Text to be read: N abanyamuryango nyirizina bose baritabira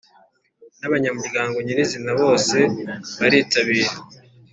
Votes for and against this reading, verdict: 3, 0, accepted